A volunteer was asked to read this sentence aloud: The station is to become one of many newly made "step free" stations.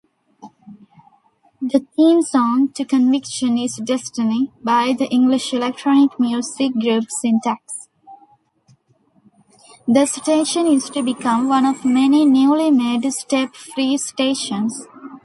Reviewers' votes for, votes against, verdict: 0, 2, rejected